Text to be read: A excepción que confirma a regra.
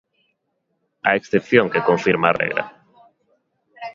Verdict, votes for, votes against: rejected, 0, 2